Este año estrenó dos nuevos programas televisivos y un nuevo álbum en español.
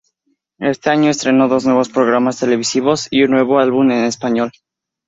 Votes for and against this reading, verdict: 2, 0, accepted